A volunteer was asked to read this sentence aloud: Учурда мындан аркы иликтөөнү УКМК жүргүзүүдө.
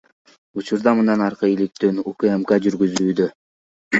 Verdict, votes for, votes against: accepted, 2, 1